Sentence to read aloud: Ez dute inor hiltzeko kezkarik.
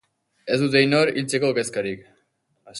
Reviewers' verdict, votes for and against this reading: rejected, 2, 2